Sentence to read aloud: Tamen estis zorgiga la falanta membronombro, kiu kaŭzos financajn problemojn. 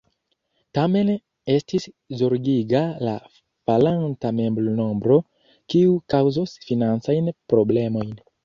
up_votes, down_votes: 2, 1